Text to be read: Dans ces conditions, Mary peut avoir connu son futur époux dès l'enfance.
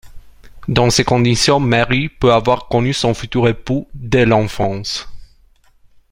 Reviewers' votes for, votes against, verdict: 2, 0, accepted